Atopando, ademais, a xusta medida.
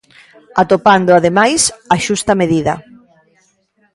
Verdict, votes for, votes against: accepted, 2, 1